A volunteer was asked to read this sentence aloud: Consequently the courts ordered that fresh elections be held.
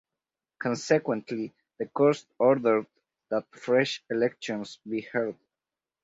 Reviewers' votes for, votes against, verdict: 0, 4, rejected